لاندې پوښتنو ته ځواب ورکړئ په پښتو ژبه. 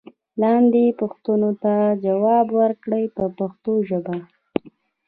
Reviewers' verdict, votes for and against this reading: rejected, 1, 2